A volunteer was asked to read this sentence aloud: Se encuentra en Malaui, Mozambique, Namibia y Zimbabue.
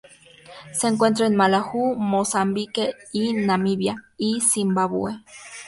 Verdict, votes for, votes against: rejected, 0, 2